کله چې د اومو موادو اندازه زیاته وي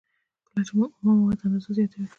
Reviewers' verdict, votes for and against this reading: accepted, 2, 0